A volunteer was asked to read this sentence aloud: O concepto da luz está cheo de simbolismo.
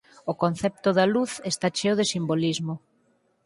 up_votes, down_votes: 4, 0